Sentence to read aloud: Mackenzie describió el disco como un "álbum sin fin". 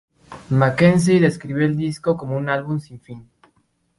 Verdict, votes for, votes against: accepted, 4, 0